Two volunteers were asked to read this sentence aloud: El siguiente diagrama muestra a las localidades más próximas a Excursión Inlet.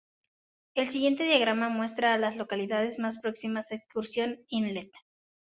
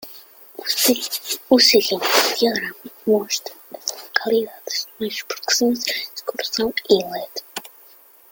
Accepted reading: first